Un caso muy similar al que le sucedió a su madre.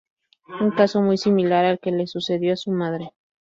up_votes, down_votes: 4, 0